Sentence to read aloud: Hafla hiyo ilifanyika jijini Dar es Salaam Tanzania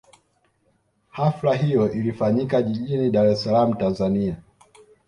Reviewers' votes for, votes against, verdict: 2, 0, accepted